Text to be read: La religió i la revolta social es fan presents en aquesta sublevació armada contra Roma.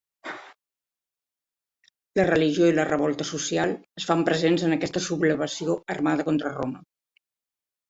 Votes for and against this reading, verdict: 1, 2, rejected